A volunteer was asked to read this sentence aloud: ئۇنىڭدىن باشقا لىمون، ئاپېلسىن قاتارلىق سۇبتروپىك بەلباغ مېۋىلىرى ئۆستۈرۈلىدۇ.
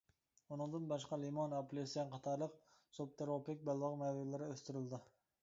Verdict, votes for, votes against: rejected, 0, 2